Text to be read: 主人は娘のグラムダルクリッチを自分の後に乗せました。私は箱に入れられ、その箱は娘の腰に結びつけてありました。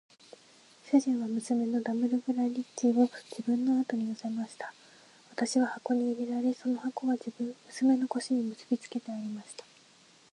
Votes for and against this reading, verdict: 0, 2, rejected